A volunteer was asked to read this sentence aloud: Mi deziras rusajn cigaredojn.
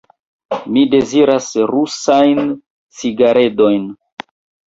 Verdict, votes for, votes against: rejected, 0, 2